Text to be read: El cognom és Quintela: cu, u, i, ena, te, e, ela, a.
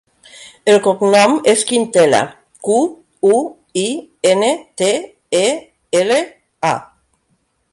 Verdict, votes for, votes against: rejected, 0, 2